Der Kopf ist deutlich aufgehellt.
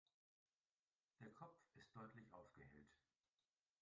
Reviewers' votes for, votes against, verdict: 0, 2, rejected